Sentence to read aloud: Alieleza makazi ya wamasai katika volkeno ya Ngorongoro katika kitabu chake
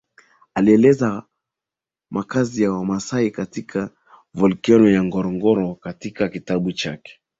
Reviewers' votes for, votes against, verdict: 2, 1, accepted